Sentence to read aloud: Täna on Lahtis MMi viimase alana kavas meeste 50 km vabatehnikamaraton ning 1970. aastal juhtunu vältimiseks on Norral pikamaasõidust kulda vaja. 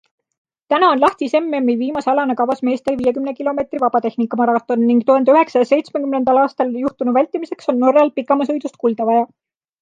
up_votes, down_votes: 0, 2